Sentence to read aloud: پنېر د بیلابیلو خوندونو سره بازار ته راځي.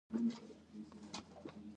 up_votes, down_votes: 0, 2